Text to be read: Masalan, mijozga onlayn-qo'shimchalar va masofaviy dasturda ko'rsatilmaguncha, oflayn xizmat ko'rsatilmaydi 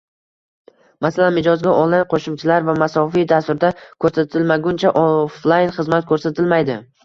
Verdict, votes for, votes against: rejected, 1, 2